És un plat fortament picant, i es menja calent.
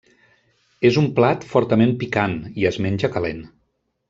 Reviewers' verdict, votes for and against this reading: accepted, 3, 0